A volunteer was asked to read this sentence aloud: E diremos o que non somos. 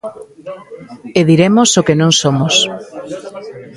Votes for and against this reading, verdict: 2, 1, accepted